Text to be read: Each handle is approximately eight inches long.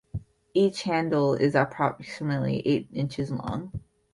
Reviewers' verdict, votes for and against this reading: accepted, 8, 0